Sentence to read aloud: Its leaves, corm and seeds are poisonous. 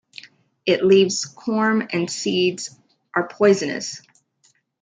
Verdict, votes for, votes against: rejected, 1, 3